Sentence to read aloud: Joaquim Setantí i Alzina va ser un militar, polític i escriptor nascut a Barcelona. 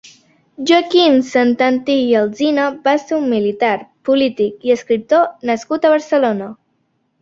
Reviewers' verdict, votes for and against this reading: rejected, 0, 2